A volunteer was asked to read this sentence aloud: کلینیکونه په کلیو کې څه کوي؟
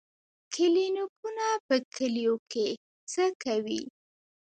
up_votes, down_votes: 0, 2